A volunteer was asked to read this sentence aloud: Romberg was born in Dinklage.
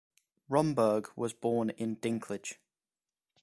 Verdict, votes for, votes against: accepted, 2, 0